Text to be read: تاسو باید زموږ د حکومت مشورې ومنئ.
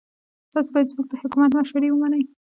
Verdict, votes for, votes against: rejected, 1, 2